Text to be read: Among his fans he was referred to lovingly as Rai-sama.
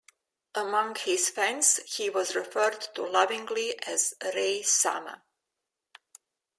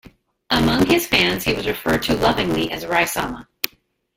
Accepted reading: first